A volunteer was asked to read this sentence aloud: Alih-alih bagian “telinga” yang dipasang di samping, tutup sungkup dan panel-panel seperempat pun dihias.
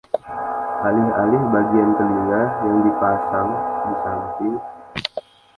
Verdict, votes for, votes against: rejected, 0, 2